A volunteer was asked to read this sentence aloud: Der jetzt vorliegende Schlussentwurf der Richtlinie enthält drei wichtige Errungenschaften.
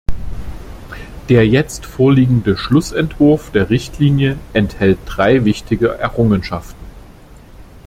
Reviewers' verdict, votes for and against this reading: accepted, 2, 0